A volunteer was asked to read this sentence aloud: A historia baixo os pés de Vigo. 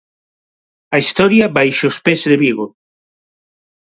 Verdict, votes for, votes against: accepted, 3, 0